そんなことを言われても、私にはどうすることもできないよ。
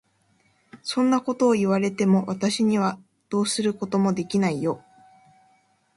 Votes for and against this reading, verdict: 2, 0, accepted